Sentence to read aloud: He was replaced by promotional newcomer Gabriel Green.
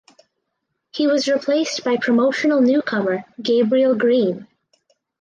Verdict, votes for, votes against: rejected, 2, 2